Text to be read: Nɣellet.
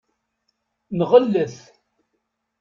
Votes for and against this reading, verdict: 2, 0, accepted